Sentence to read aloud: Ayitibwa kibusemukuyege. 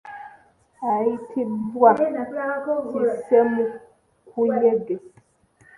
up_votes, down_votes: 0, 2